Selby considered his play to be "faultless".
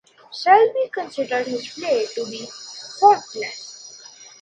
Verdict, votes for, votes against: accepted, 2, 0